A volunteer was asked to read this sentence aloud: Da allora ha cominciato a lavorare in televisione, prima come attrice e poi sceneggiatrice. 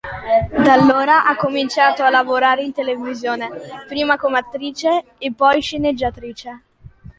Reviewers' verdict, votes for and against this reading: accepted, 2, 0